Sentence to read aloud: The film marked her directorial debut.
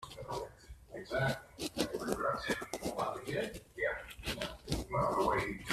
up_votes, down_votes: 0, 2